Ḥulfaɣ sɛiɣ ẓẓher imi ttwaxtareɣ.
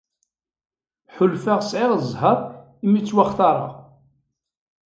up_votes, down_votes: 2, 0